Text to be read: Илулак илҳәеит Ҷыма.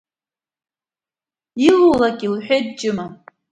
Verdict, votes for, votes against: accepted, 2, 0